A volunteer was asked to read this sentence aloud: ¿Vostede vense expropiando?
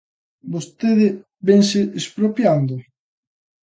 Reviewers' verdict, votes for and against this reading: accepted, 2, 0